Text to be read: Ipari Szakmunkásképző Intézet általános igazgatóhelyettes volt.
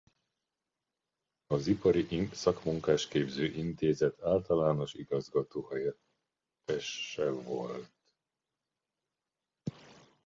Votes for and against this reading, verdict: 0, 2, rejected